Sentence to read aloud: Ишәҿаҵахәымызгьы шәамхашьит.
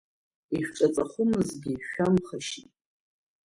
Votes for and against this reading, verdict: 0, 2, rejected